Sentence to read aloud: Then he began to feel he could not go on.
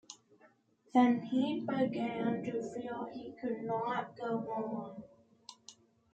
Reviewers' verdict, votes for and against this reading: rejected, 1, 2